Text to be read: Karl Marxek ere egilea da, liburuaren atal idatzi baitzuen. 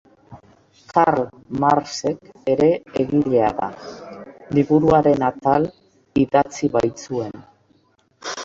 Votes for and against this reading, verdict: 0, 2, rejected